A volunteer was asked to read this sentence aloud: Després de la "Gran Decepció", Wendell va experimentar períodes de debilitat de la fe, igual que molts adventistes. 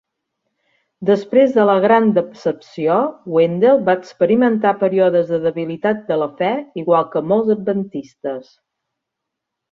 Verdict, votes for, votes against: accepted, 2, 1